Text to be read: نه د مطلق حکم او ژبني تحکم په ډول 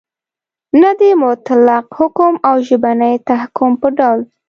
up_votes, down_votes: 2, 0